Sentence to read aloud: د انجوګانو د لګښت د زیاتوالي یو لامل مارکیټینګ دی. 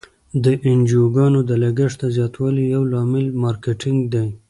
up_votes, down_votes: 3, 0